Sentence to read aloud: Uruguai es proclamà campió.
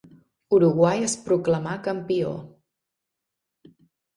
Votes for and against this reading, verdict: 3, 0, accepted